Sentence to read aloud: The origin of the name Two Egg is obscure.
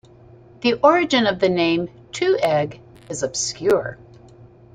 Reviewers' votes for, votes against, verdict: 9, 0, accepted